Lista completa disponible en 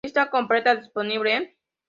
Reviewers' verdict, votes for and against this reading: accepted, 2, 0